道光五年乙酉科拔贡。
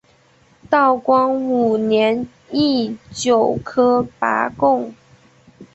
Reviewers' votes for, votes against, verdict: 0, 2, rejected